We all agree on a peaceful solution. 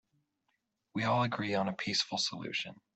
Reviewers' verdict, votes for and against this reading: accepted, 6, 0